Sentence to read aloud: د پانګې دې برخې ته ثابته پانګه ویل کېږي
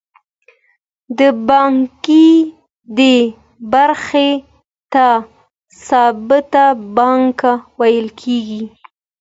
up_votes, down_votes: 2, 0